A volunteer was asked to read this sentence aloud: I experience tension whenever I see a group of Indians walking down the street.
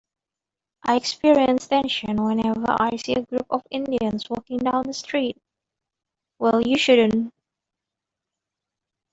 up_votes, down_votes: 1, 2